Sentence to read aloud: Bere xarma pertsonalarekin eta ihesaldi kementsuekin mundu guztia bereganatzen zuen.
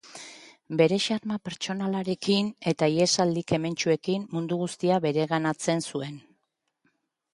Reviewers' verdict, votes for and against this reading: accepted, 3, 0